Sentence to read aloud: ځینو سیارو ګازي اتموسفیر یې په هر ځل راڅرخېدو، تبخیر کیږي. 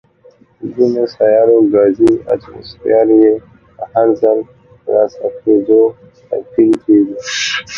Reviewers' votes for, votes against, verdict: 1, 2, rejected